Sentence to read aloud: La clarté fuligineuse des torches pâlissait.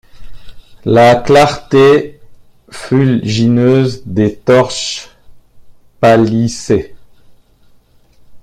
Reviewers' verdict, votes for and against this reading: rejected, 0, 2